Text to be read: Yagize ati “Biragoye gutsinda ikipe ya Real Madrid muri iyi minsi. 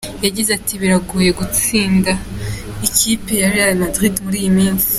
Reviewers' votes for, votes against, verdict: 2, 0, accepted